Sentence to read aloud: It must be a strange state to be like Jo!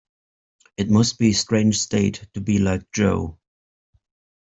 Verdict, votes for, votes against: rejected, 0, 2